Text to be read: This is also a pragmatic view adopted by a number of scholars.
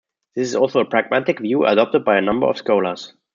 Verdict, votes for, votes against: accepted, 2, 0